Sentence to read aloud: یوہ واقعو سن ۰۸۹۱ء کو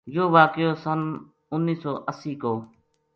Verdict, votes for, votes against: rejected, 0, 2